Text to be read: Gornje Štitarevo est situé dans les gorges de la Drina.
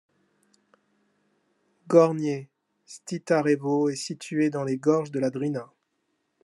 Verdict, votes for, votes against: accepted, 2, 0